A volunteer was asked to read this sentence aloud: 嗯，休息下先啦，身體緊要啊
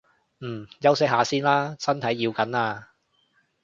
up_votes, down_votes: 1, 2